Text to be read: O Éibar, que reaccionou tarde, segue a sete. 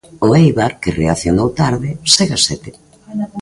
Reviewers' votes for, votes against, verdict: 1, 2, rejected